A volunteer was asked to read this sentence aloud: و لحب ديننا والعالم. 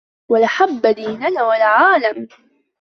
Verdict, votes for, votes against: accepted, 2, 1